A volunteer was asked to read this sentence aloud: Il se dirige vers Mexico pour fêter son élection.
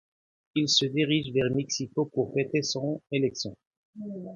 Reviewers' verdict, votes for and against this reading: accepted, 2, 0